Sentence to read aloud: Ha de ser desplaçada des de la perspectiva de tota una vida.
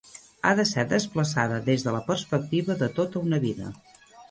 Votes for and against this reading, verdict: 3, 0, accepted